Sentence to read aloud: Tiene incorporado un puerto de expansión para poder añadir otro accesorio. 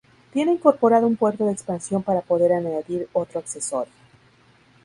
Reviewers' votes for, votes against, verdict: 2, 0, accepted